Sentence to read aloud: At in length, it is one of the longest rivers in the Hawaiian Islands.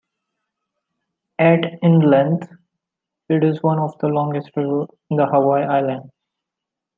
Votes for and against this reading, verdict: 2, 1, accepted